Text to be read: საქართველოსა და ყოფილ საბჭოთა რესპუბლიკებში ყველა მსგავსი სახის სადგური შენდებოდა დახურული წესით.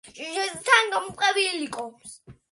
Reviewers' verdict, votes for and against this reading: rejected, 1, 2